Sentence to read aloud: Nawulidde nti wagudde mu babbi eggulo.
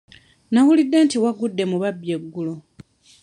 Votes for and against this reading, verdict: 2, 0, accepted